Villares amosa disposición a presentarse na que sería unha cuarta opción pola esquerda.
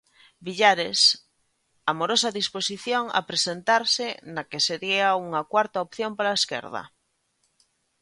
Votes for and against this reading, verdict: 0, 3, rejected